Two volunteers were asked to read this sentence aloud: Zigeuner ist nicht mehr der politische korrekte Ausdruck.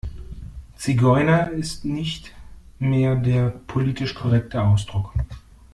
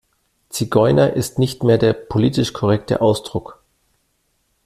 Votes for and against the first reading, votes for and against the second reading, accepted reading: 1, 2, 2, 1, second